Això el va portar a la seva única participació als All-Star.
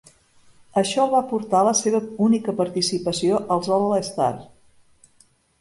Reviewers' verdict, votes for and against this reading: accepted, 2, 0